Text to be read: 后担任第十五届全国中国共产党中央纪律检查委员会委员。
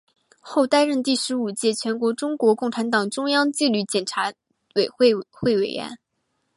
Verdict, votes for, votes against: rejected, 0, 2